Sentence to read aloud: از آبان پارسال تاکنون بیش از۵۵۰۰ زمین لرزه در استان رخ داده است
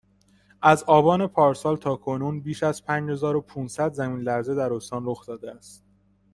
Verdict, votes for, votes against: rejected, 0, 2